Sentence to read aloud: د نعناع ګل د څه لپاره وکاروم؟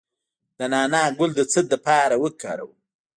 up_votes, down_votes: 1, 2